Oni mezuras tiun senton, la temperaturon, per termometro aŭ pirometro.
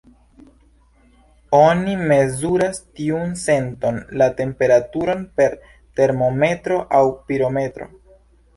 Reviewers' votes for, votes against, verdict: 0, 2, rejected